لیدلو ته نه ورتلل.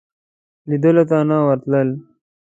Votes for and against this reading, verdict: 2, 1, accepted